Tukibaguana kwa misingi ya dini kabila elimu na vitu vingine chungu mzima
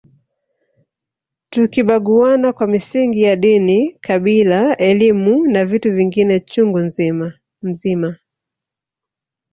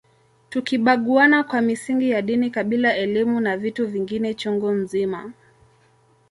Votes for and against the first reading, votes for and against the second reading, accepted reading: 2, 3, 2, 0, second